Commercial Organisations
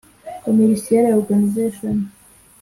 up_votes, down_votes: 0, 2